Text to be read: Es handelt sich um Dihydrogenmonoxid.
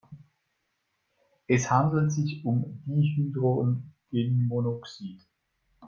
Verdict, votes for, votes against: rejected, 1, 2